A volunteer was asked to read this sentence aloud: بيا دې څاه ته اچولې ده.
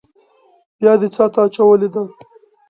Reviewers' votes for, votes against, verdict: 2, 0, accepted